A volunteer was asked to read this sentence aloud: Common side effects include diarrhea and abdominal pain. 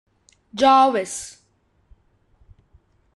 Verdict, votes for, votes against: rejected, 0, 2